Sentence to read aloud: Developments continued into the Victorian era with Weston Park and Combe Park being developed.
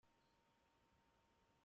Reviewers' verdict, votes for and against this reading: rejected, 0, 2